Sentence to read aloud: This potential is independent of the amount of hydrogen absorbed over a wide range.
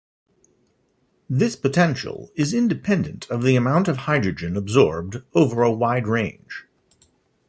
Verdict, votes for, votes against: accepted, 2, 1